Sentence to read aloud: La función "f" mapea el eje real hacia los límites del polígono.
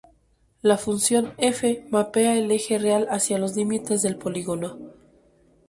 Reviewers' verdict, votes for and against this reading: accepted, 4, 0